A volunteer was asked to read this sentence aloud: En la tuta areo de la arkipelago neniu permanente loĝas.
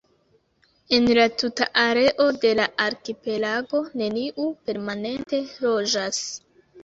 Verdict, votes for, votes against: accepted, 2, 0